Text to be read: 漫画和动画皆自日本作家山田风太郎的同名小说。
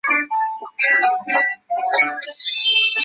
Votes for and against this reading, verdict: 1, 2, rejected